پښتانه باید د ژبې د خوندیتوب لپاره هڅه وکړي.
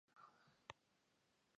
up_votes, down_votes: 2, 3